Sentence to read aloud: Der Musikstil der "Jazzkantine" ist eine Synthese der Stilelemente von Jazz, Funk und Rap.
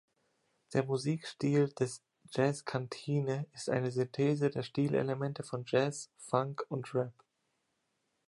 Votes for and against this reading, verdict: 0, 2, rejected